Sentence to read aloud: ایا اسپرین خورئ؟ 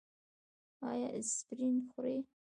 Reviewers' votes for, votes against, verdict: 1, 2, rejected